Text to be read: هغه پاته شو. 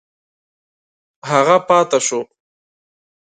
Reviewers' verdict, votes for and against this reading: accepted, 2, 0